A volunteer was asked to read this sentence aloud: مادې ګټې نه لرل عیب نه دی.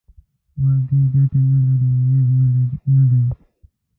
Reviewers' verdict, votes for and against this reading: rejected, 0, 2